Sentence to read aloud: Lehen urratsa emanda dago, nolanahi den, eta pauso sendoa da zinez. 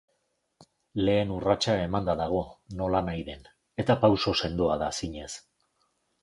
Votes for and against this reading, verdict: 3, 0, accepted